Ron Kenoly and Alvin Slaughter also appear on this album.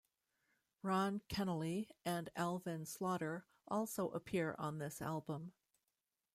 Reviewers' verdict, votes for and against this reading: accepted, 2, 0